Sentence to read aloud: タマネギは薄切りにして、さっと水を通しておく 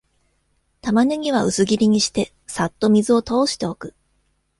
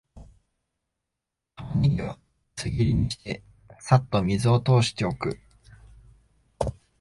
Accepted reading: first